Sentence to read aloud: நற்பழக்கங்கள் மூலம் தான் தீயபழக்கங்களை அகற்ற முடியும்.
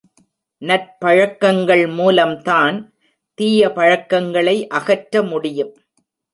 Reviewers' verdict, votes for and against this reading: rejected, 1, 2